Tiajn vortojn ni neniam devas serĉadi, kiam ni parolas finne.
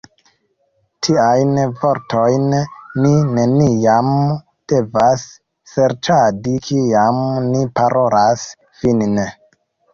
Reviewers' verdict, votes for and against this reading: rejected, 1, 2